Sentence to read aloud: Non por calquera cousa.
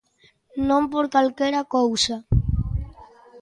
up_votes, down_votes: 2, 0